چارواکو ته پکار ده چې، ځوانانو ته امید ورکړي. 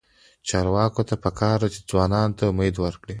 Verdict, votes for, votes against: accepted, 2, 0